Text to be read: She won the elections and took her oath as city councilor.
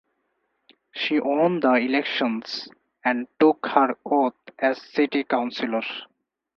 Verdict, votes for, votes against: rejected, 2, 2